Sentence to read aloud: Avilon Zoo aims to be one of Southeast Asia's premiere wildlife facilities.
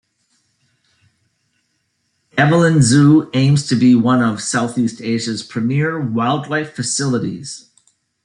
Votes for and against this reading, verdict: 2, 0, accepted